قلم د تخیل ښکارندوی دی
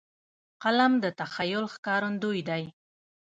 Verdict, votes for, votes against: rejected, 0, 2